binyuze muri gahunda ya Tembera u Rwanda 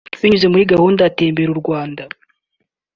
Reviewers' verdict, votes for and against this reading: accepted, 2, 1